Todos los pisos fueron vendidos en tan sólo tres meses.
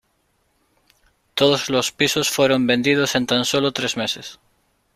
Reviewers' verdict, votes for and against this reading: accepted, 2, 0